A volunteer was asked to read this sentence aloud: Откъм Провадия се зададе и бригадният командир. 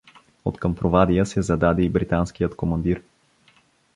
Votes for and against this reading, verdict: 1, 2, rejected